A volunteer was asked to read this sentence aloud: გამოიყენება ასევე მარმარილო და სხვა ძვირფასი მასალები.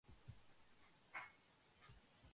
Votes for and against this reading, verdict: 0, 2, rejected